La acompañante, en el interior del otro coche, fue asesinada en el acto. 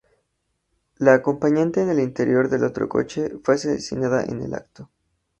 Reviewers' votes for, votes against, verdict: 2, 2, rejected